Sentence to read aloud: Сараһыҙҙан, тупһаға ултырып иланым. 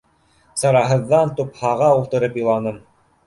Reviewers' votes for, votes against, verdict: 2, 0, accepted